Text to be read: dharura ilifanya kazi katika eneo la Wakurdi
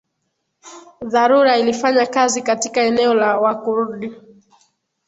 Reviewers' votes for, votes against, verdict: 2, 0, accepted